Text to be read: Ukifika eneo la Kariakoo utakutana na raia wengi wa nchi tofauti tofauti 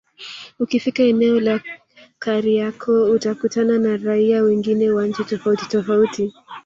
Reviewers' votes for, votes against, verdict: 1, 2, rejected